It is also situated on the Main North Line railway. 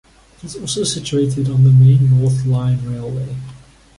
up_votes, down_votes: 0, 2